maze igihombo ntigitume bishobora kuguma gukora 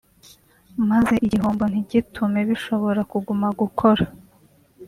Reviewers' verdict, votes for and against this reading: rejected, 0, 2